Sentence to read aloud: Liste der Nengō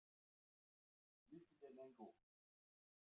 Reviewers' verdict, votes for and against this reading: rejected, 0, 2